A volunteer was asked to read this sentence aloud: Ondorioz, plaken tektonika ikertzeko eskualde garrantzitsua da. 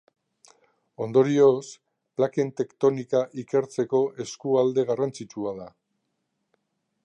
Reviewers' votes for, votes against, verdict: 2, 0, accepted